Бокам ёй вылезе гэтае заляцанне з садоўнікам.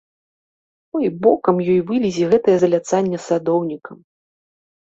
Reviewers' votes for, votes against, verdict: 0, 2, rejected